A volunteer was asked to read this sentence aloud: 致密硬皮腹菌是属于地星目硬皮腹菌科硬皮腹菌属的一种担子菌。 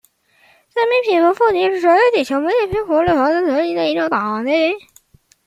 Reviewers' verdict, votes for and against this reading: rejected, 0, 2